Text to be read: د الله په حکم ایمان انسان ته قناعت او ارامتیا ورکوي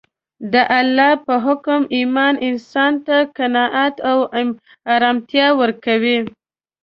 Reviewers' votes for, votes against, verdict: 2, 0, accepted